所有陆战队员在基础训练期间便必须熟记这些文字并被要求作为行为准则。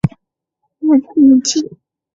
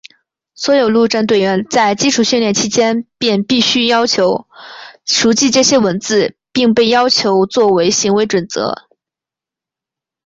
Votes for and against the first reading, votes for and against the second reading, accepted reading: 0, 2, 2, 0, second